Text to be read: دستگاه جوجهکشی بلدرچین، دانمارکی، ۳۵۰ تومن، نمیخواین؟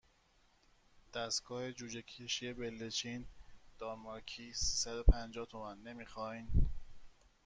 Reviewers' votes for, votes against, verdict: 0, 2, rejected